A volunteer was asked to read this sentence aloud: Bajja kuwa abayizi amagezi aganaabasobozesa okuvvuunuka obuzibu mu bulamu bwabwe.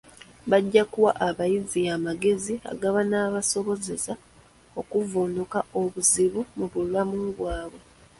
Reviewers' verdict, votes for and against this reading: rejected, 0, 2